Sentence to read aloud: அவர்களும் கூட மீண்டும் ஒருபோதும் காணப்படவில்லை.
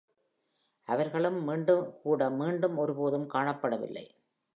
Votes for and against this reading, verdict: 0, 2, rejected